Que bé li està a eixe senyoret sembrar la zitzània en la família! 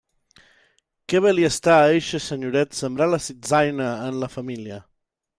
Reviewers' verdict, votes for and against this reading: rejected, 0, 2